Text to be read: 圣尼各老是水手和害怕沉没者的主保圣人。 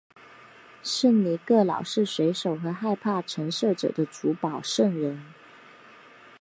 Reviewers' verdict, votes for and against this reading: accepted, 6, 1